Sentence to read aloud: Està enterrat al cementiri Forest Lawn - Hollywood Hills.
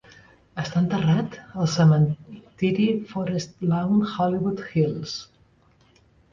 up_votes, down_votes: 0, 2